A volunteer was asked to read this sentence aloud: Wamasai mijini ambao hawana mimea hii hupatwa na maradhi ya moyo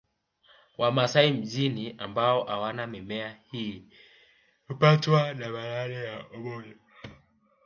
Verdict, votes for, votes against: rejected, 1, 2